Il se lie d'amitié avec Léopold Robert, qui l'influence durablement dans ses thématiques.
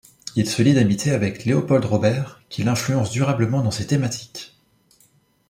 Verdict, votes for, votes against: accepted, 2, 0